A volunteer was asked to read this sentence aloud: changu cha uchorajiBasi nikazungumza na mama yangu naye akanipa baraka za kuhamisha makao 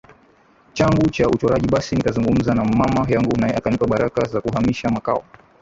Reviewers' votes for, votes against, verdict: 2, 7, rejected